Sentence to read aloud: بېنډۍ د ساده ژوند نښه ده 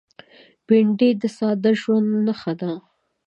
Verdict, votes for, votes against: accepted, 3, 0